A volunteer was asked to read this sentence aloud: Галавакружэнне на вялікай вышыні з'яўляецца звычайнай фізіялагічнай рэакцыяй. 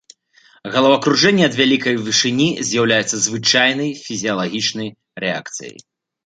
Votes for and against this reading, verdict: 1, 2, rejected